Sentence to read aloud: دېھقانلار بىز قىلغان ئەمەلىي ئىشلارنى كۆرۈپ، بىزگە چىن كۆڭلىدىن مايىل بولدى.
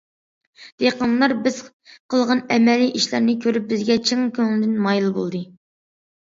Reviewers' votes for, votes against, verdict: 2, 0, accepted